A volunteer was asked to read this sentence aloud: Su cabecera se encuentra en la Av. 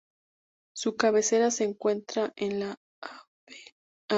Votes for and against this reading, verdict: 0, 4, rejected